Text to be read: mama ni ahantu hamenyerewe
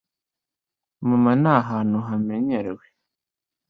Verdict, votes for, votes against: accepted, 2, 0